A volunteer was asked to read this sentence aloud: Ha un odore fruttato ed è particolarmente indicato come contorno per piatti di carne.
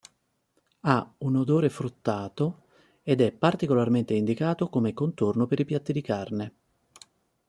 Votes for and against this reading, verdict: 1, 2, rejected